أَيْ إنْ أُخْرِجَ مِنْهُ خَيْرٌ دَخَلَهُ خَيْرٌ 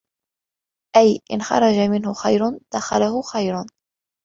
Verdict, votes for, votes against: rejected, 1, 2